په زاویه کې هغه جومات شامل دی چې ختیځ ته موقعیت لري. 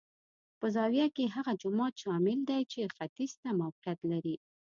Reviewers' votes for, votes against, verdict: 2, 0, accepted